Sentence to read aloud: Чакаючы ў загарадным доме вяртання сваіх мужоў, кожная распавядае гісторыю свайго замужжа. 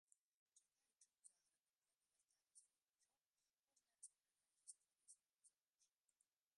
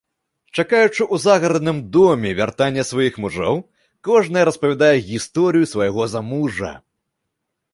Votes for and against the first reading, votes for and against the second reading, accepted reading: 0, 3, 2, 0, second